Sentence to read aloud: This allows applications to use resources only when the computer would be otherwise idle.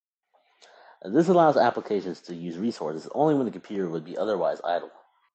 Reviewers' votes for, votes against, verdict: 2, 1, accepted